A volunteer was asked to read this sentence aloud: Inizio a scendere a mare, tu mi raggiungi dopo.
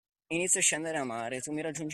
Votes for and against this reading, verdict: 0, 2, rejected